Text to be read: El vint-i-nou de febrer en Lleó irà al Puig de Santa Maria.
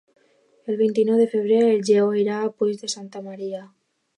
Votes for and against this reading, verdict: 0, 2, rejected